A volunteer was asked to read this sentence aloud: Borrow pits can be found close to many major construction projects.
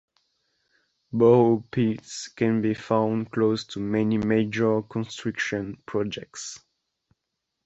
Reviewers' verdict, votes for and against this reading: accepted, 2, 0